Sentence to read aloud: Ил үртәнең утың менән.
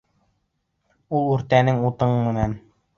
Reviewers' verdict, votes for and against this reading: accepted, 2, 1